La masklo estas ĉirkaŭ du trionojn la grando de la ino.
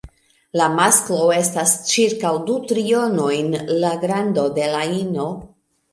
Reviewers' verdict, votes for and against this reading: accepted, 2, 0